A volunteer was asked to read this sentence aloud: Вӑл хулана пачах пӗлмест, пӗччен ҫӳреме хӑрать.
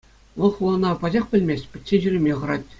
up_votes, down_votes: 2, 0